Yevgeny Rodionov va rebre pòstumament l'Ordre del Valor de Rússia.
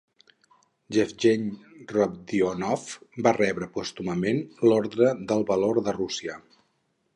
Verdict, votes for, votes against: accepted, 4, 0